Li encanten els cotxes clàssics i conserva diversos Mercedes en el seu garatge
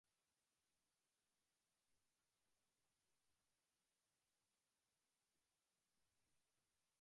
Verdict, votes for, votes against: rejected, 0, 2